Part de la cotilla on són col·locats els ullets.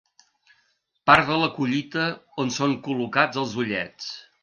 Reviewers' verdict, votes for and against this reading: rejected, 0, 2